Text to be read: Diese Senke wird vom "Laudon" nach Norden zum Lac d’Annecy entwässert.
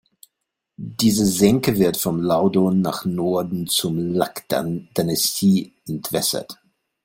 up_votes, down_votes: 0, 3